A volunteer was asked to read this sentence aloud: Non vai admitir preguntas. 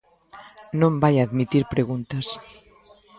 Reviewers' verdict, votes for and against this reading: rejected, 0, 2